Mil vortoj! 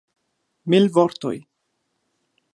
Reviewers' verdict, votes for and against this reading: accepted, 2, 0